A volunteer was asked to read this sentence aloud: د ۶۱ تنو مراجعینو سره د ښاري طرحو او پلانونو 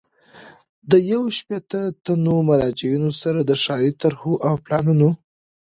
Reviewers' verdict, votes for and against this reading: rejected, 0, 2